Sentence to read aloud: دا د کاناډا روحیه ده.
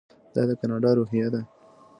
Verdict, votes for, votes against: accepted, 2, 0